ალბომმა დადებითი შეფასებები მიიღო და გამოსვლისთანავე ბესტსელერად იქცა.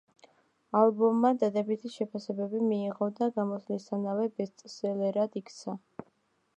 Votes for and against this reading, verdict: 2, 1, accepted